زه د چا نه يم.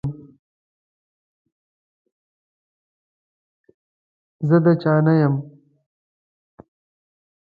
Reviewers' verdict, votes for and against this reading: rejected, 0, 2